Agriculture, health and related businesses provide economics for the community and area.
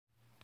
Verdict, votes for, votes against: rejected, 0, 2